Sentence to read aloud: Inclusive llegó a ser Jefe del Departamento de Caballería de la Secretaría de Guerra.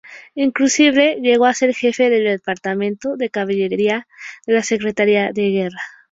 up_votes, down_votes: 2, 0